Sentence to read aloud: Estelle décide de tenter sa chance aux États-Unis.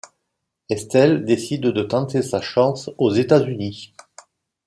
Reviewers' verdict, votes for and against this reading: accepted, 2, 0